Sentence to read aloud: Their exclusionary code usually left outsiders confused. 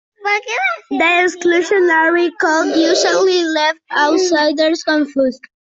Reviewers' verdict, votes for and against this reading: rejected, 0, 2